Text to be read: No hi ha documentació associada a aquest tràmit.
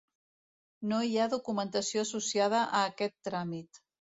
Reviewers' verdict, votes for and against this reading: accepted, 2, 0